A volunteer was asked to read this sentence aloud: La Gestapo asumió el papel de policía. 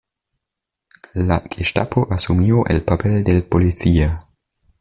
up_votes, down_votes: 1, 2